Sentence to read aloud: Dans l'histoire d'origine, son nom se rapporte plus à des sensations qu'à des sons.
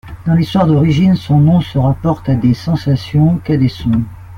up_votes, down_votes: 0, 2